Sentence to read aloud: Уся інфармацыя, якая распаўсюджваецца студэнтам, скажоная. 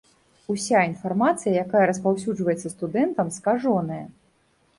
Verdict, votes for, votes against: accepted, 2, 0